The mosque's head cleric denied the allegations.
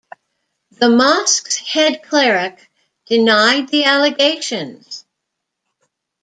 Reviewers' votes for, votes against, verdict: 2, 0, accepted